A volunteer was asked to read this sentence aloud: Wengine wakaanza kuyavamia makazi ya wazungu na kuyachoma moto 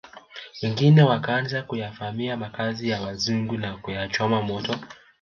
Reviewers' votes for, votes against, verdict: 2, 0, accepted